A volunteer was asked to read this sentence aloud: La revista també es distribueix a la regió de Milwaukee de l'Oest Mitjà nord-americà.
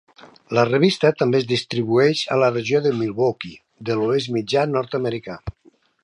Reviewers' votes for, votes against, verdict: 3, 0, accepted